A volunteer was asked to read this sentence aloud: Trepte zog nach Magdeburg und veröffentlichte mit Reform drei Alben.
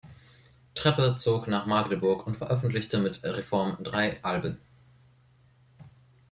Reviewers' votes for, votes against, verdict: 0, 2, rejected